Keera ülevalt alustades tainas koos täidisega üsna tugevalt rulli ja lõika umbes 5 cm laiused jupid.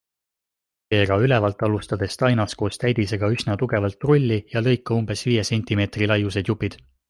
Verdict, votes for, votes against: rejected, 0, 2